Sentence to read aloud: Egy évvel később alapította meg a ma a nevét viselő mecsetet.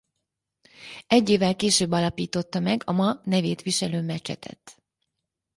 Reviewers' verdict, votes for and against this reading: rejected, 0, 4